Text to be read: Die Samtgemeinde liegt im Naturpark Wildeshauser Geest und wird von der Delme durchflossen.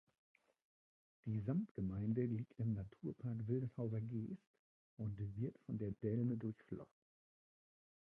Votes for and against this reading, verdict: 1, 2, rejected